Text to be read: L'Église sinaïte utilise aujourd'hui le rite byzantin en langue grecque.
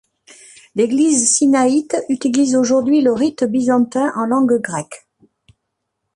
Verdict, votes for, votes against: accepted, 2, 0